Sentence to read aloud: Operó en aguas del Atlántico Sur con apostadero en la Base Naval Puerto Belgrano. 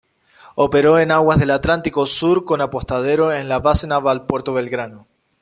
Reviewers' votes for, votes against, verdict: 2, 0, accepted